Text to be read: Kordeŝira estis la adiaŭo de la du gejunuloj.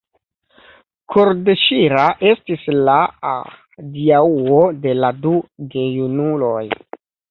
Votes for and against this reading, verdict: 2, 0, accepted